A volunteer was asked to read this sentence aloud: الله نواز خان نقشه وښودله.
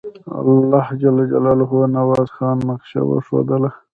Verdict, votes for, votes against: rejected, 1, 2